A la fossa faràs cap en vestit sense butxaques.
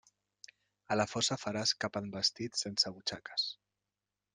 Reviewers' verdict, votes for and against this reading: accepted, 2, 0